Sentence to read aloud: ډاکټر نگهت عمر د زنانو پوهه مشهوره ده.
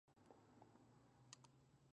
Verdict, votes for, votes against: rejected, 0, 2